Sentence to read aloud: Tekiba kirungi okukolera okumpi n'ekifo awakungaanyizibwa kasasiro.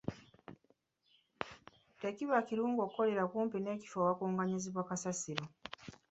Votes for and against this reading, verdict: 2, 0, accepted